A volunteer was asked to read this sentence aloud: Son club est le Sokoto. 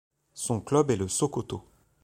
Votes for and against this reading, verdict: 2, 0, accepted